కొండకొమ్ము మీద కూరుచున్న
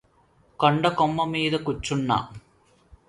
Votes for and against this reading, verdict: 0, 2, rejected